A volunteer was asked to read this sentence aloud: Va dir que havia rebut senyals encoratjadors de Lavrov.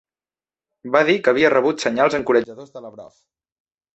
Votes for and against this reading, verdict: 0, 2, rejected